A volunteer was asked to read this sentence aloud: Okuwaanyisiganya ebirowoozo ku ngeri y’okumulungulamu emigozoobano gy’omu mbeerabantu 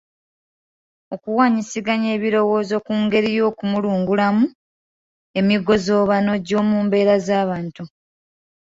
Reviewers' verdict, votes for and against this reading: accepted, 2, 0